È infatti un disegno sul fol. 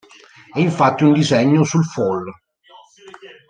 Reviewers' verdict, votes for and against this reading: rejected, 1, 2